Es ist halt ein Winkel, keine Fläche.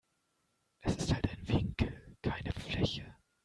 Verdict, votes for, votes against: accepted, 2, 1